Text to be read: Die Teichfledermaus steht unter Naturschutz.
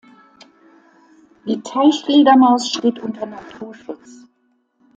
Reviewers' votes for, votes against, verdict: 2, 0, accepted